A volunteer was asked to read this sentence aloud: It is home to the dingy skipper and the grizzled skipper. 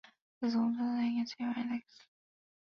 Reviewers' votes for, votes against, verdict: 0, 2, rejected